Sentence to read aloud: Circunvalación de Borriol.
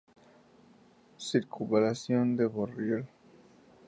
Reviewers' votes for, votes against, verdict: 2, 0, accepted